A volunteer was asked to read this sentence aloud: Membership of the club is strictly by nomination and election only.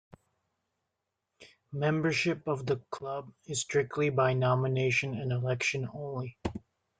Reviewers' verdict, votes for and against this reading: accepted, 2, 0